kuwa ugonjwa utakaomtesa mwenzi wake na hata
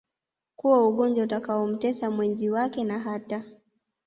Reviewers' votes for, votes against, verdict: 0, 2, rejected